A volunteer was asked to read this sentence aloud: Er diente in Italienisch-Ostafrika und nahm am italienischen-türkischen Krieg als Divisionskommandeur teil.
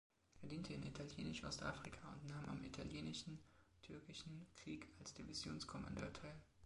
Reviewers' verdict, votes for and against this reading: rejected, 0, 2